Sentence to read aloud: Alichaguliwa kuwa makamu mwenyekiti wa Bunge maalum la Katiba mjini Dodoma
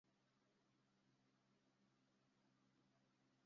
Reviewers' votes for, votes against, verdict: 0, 2, rejected